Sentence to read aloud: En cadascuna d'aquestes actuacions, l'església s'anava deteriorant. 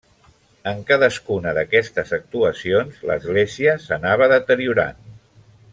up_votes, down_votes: 3, 0